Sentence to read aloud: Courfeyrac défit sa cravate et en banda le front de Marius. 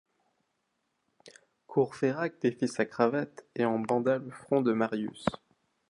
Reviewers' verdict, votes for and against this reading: accepted, 2, 0